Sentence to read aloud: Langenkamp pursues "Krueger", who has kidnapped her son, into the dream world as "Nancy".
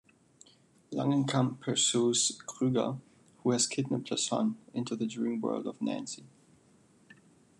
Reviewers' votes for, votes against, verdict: 2, 1, accepted